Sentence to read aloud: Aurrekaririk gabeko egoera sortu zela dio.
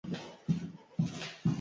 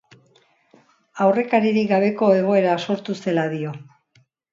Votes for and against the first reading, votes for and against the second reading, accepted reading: 0, 6, 2, 0, second